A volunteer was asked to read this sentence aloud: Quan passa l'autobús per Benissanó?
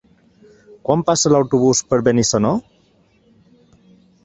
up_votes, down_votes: 3, 0